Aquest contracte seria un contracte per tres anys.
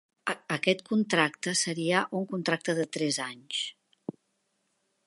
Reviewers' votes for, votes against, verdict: 1, 2, rejected